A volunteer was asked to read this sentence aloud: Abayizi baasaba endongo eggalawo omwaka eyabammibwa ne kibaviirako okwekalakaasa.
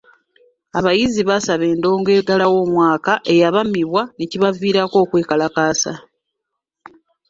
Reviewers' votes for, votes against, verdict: 2, 1, accepted